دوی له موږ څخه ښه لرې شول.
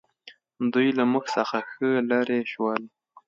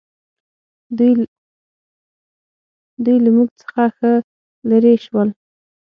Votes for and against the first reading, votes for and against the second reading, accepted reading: 2, 0, 3, 6, first